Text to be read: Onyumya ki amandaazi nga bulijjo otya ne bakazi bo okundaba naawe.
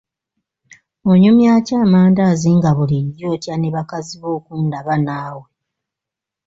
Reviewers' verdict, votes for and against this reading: accepted, 2, 0